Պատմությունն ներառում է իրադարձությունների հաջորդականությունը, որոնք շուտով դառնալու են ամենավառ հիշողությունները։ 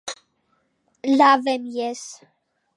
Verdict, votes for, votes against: rejected, 0, 2